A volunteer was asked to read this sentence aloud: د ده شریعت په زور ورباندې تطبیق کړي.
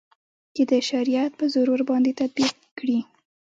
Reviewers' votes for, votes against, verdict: 2, 0, accepted